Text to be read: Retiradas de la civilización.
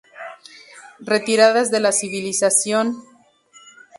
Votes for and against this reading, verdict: 2, 0, accepted